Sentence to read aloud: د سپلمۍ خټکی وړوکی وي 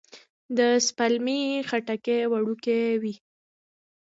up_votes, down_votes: 1, 2